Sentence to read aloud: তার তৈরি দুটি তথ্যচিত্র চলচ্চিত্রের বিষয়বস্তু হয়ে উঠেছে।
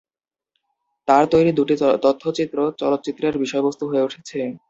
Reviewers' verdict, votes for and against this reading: rejected, 1, 2